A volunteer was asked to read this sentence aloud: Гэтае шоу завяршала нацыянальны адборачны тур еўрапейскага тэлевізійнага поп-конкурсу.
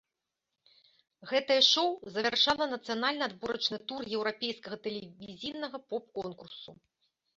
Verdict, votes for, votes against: accepted, 2, 1